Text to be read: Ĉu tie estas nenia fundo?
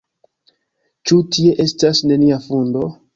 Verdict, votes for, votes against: accepted, 2, 0